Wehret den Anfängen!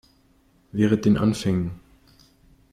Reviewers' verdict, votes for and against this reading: accepted, 2, 0